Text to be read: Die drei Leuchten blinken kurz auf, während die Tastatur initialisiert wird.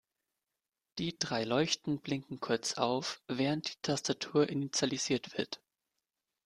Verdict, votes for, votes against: accepted, 2, 0